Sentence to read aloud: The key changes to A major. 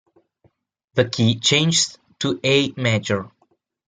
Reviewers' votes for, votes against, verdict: 2, 0, accepted